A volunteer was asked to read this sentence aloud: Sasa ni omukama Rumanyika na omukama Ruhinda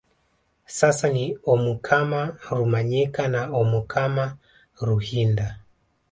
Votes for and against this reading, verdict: 2, 0, accepted